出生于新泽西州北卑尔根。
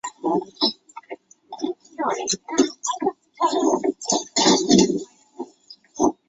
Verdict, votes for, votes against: rejected, 0, 2